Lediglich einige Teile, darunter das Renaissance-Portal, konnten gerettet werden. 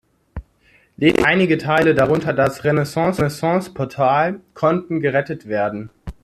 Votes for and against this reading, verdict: 0, 2, rejected